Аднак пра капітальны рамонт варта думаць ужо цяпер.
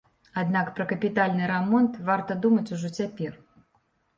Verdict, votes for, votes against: accepted, 2, 0